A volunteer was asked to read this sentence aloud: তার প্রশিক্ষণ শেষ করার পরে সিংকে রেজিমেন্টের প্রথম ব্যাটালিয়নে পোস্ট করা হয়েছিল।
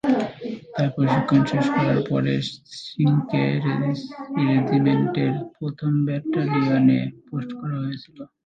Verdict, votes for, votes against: rejected, 0, 2